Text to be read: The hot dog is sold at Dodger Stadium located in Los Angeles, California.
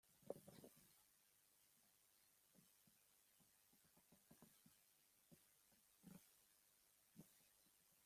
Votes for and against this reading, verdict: 0, 2, rejected